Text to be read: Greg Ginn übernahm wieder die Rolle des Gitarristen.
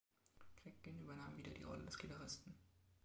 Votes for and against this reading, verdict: 0, 2, rejected